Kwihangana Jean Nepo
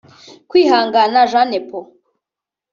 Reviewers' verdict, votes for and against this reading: rejected, 1, 2